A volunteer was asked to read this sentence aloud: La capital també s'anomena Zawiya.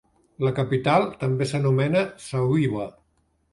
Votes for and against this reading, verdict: 1, 2, rejected